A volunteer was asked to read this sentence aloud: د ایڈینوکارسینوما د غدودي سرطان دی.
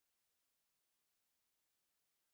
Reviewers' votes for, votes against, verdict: 1, 2, rejected